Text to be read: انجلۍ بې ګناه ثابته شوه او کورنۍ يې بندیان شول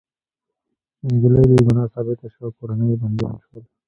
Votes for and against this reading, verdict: 2, 1, accepted